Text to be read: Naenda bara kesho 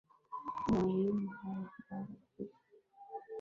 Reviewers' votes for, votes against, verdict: 0, 8, rejected